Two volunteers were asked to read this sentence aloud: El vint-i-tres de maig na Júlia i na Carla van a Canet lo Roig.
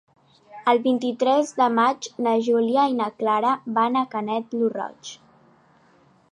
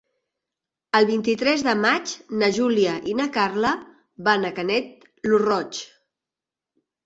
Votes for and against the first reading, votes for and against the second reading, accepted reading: 1, 2, 2, 0, second